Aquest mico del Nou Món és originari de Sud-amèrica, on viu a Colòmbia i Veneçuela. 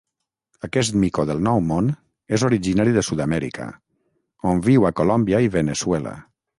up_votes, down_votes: 3, 3